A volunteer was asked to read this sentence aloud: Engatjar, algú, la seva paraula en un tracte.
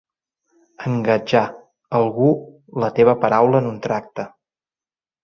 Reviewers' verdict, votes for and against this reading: rejected, 0, 2